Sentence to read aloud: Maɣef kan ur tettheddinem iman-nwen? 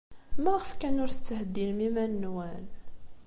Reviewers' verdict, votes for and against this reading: accepted, 2, 0